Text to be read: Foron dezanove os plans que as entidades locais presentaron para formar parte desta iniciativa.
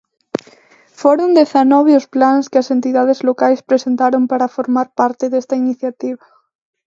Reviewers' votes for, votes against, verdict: 0, 2, rejected